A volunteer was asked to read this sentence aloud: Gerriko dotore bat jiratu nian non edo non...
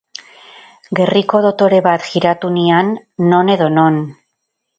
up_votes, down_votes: 2, 0